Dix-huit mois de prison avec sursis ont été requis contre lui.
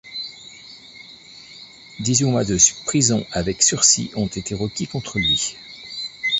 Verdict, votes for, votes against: rejected, 0, 2